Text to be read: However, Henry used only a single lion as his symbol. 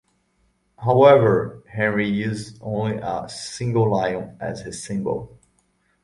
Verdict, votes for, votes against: accepted, 2, 0